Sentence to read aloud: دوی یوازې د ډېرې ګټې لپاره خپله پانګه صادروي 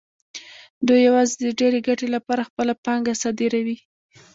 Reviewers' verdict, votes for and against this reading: accepted, 2, 1